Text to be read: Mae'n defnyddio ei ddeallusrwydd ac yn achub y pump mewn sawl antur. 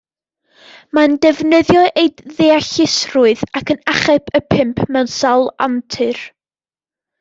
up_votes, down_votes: 2, 0